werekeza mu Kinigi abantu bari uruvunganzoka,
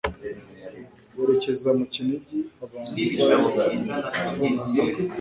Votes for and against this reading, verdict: 1, 2, rejected